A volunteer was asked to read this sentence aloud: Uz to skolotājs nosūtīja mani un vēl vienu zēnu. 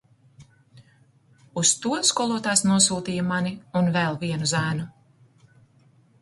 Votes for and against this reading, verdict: 2, 0, accepted